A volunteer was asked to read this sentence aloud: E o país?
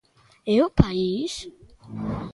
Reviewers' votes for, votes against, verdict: 1, 2, rejected